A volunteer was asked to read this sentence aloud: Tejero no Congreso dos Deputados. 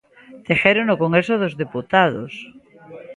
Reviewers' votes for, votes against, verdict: 1, 2, rejected